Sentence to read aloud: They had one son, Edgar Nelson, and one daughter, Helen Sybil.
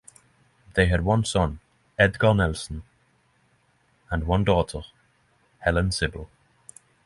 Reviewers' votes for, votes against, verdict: 3, 3, rejected